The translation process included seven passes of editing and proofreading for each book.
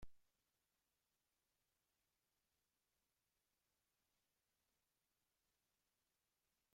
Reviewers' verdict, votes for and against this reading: rejected, 0, 2